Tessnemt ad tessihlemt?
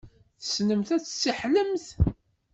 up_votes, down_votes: 1, 2